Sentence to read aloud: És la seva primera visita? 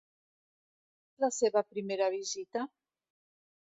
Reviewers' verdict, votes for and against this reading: rejected, 1, 2